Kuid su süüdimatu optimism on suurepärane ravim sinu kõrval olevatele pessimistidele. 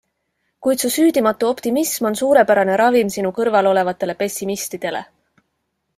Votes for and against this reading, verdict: 2, 0, accepted